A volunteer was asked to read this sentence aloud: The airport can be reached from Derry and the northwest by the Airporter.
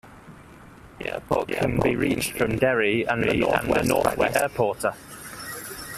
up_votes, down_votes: 0, 2